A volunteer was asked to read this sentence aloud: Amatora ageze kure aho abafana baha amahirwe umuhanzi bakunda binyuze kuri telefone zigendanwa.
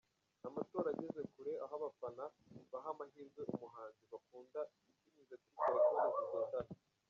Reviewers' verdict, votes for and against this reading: rejected, 1, 2